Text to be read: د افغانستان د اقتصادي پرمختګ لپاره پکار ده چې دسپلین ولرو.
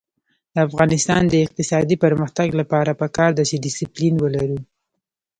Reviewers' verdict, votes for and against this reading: rejected, 0, 2